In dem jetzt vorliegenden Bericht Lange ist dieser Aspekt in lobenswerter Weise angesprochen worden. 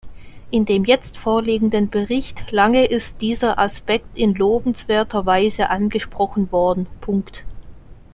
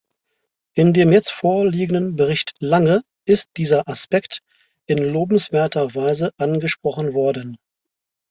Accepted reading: second